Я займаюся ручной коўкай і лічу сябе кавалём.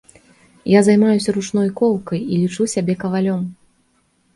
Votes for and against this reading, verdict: 3, 0, accepted